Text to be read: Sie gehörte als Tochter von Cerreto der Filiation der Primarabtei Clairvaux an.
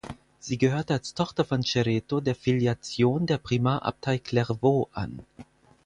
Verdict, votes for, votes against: accepted, 4, 2